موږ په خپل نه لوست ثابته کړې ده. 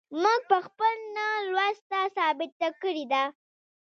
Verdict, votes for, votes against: rejected, 1, 2